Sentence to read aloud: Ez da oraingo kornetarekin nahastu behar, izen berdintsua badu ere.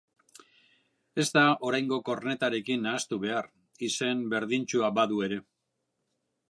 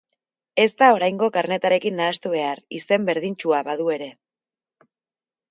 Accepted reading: first